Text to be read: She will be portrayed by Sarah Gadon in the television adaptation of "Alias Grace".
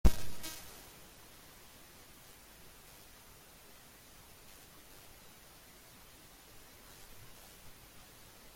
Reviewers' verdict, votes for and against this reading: rejected, 0, 2